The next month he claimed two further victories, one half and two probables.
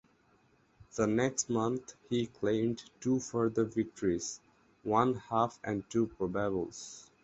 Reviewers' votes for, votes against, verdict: 2, 2, rejected